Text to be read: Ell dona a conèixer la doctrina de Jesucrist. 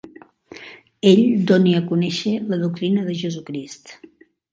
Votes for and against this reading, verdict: 1, 2, rejected